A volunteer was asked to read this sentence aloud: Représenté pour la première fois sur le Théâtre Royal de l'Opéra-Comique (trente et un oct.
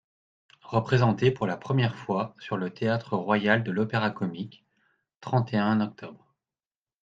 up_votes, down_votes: 2, 0